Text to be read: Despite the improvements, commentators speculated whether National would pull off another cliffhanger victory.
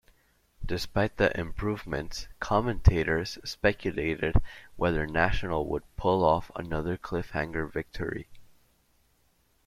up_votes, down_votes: 2, 0